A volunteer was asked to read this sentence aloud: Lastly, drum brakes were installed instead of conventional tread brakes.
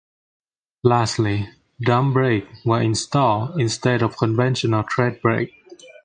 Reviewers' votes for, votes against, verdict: 2, 0, accepted